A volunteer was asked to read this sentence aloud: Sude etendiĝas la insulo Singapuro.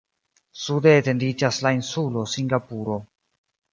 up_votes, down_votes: 2, 0